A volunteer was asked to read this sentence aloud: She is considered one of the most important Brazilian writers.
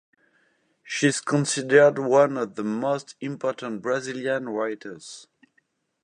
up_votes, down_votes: 4, 0